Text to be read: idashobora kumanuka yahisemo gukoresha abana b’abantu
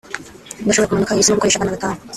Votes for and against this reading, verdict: 0, 2, rejected